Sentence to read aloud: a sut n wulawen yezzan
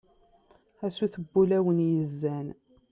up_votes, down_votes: 2, 0